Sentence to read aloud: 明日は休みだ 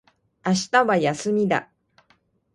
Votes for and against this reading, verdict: 2, 0, accepted